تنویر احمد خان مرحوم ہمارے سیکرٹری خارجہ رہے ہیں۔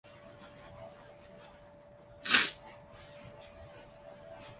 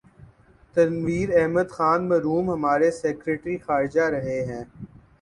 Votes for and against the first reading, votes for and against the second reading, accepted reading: 0, 2, 7, 1, second